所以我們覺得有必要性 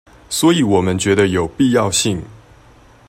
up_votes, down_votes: 2, 0